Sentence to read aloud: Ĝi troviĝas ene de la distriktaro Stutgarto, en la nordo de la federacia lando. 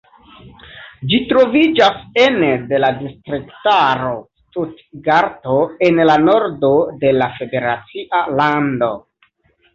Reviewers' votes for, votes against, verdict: 2, 0, accepted